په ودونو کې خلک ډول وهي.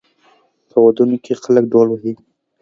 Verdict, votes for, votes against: accepted, 2, 0